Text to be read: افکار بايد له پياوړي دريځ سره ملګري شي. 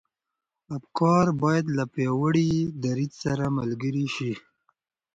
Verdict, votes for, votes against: accepted, 2, 0